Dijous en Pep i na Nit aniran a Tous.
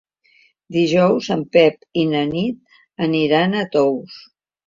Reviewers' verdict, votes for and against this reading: accepted, 3, 0